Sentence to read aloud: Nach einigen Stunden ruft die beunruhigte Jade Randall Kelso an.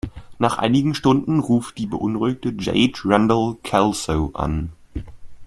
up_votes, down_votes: 2, 0